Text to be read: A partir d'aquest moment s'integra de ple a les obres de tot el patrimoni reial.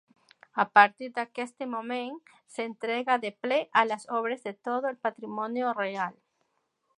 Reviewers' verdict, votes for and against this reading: rejected, 0, 2